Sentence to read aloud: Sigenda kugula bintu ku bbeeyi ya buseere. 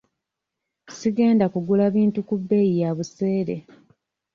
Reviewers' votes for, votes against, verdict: 2, 0, accepted